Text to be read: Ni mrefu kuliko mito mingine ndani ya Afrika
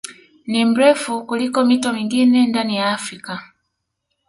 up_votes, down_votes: 1, 2